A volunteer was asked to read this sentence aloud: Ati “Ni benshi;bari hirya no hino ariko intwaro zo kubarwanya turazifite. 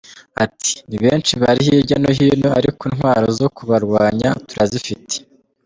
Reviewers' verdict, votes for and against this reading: accepted, 2, 1